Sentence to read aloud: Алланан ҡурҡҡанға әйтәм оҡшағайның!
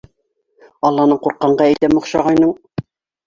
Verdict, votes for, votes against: accepted, 2, 0